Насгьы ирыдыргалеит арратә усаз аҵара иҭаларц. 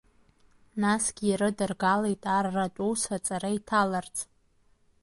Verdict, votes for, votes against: rejected, 1, 2